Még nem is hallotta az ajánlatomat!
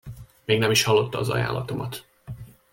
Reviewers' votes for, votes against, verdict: 2, 0, accepted